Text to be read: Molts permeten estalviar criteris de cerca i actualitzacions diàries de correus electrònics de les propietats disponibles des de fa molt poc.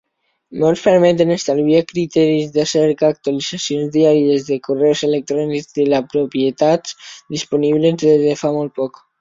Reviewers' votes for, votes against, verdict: 1, 2, rejected